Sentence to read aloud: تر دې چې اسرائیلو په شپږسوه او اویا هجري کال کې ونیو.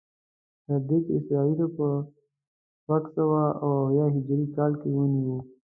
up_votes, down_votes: 0, 2